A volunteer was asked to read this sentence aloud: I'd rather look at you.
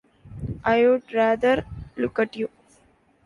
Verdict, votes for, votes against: rejected, 1, 2